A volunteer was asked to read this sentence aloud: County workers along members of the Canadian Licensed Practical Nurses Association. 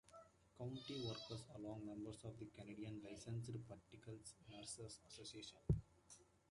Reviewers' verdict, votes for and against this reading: accepted, 2, 0